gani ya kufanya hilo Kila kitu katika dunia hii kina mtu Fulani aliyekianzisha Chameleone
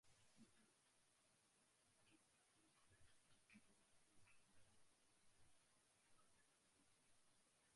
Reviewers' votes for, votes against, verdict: 2, 1, accepted